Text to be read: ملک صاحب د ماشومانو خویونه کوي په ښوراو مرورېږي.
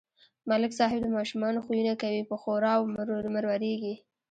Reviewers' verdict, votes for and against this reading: accepted, 2, 1